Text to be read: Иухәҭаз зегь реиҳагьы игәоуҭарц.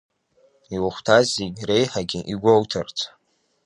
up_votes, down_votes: 2, 0